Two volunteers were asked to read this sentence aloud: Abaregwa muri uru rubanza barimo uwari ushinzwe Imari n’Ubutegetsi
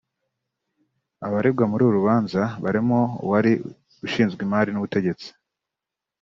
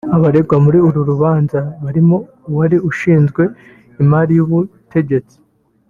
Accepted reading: first